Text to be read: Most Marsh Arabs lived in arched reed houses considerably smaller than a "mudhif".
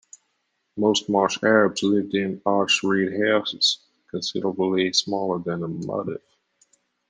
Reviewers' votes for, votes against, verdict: 2, 1, accepted